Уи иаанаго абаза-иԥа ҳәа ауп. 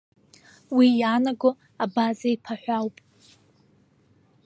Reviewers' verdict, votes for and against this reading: accepted, 2, 0